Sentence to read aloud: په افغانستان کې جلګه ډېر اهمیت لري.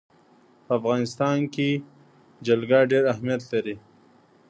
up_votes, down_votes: 1, 2